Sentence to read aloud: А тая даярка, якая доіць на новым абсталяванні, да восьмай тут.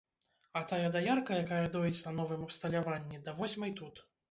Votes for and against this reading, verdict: 2, 0, accepted